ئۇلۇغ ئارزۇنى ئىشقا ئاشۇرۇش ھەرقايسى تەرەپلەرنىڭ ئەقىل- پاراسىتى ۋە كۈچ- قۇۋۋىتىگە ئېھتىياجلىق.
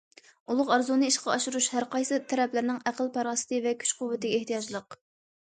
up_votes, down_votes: 2, 0